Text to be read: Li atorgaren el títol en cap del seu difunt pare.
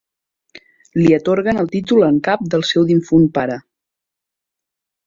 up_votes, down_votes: 0, 2